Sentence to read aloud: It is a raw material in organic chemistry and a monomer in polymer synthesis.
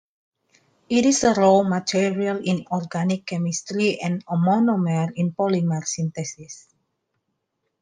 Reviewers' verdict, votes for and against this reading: accepted, 2, 1